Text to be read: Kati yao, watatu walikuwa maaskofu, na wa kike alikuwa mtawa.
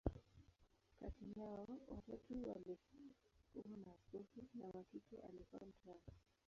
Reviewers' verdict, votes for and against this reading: rejected, 0, 2